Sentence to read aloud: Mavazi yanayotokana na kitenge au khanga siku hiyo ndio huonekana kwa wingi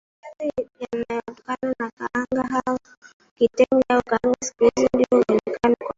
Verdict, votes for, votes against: rejected, 0, 2